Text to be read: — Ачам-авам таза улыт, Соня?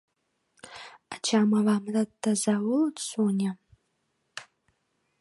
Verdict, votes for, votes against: rejected, 0, 2